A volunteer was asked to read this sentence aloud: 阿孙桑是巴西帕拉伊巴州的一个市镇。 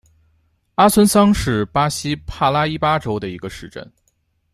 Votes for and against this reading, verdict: 2, 0, accepted